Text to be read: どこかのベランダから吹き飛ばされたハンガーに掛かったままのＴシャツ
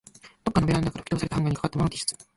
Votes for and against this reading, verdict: 0, 2, rejected